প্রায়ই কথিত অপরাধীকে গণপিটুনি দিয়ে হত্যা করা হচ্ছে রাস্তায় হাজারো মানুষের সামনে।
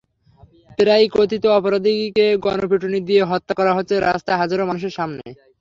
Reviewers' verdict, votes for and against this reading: accepted, 3, 0